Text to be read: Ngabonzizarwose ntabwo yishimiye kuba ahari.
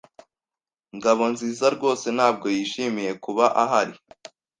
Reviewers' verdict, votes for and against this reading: accepted, 2, 0